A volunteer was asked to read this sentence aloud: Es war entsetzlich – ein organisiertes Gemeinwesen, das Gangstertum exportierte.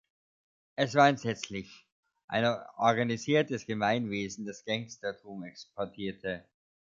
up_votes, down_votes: 1, 2